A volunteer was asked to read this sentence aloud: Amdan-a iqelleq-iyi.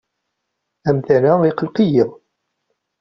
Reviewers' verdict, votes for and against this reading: accepted, 2, 0